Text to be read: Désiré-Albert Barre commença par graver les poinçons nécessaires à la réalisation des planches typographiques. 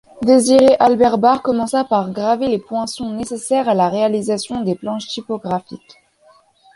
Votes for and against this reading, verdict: 2, 0, accepted